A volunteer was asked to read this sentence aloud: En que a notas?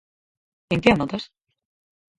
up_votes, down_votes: 2, 4